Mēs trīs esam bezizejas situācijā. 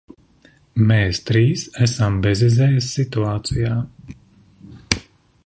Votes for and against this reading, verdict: 2, 1, accepted